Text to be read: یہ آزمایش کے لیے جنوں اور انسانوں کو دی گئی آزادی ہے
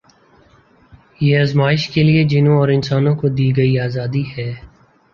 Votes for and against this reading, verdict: 2, 1, accepted